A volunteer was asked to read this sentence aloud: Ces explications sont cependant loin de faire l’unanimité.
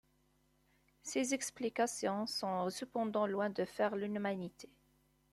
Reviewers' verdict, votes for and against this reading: rejected, 1, 2